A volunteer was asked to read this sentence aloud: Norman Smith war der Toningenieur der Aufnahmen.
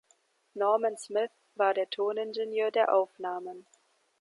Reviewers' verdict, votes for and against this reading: accepted, 2, 0